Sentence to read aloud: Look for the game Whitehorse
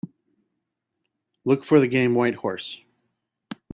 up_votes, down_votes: 2, 0